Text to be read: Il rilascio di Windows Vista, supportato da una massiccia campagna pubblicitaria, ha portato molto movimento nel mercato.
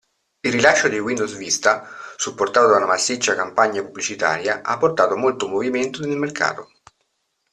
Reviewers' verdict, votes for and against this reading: accepted, 2, 0